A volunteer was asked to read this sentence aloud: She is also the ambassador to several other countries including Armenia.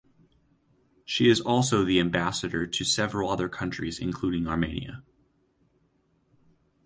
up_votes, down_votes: 0, 2